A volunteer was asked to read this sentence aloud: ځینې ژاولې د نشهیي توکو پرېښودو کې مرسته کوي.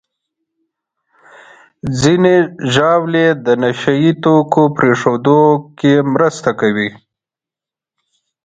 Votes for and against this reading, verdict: 3, 0, accepted